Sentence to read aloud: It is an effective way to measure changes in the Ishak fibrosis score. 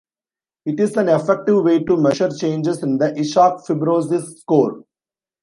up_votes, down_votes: 2, 1